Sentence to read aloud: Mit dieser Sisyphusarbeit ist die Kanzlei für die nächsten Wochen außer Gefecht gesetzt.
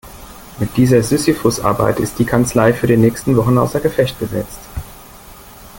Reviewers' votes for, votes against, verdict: 2, 0, accepted